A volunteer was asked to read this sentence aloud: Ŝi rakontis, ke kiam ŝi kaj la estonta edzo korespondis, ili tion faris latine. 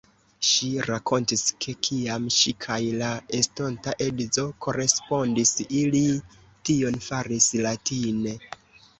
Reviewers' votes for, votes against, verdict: 2, 1, accepted